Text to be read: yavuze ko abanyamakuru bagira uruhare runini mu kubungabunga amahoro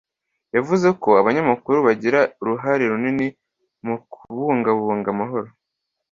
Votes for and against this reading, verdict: 2, 0, accepted